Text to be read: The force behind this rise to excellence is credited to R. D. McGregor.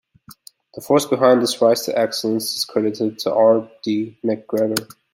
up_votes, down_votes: 2, 0